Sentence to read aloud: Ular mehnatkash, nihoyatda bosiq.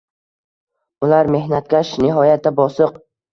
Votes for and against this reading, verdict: 2, 0, accepted